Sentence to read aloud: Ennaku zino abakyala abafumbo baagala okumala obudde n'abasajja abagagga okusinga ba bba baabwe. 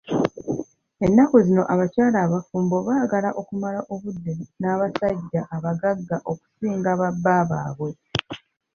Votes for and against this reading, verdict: 1, 2, rejected